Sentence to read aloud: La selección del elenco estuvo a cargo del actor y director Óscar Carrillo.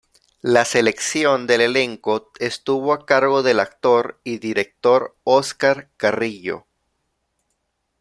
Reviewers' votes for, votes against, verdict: 2, 0, accepted